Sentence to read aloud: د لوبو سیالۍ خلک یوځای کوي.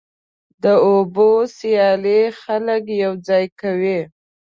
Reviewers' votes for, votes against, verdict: 1, 2, rejected